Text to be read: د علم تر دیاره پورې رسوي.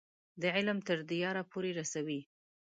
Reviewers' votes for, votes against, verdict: 3, 0, accepted